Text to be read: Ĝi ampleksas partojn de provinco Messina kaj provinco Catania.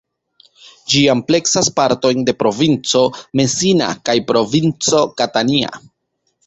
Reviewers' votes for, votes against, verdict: 0, 2, rejected